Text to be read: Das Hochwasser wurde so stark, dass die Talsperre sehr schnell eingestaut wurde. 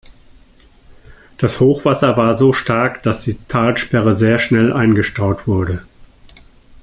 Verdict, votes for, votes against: rejected, 0, 2